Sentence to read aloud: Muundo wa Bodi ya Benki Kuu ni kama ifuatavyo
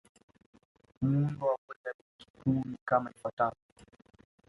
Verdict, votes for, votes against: rejected, 1, 2